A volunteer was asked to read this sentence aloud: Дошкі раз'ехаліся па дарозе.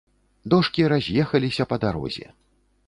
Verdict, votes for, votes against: accepted, 2, 0